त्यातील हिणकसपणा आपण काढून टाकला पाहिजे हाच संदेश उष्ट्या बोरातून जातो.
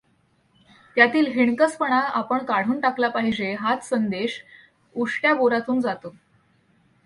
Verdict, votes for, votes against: accepted, 2, 0